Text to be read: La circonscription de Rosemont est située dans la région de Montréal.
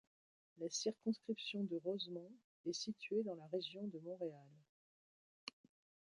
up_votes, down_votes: 1, 2